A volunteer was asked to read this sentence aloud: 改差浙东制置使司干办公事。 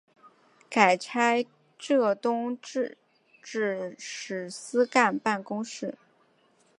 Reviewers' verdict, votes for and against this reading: accepted, 4, 0